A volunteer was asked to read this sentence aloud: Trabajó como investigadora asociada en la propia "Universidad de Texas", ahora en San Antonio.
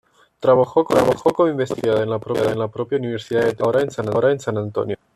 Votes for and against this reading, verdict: 0, 2, rejected